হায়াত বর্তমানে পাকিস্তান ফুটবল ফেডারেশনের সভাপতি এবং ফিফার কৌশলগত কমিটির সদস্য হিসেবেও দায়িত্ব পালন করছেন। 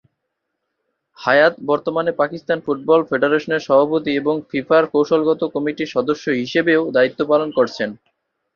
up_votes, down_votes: 7, 0